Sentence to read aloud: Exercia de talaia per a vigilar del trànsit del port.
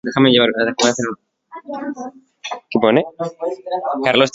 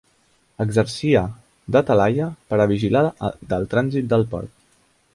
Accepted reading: second